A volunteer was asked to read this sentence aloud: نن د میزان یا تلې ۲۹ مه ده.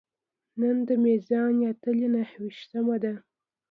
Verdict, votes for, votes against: rejected, 0, 2